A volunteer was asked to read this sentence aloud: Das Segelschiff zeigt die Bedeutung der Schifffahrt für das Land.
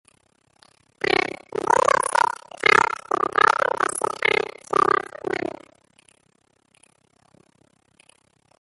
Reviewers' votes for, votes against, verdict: 0, 2, rejected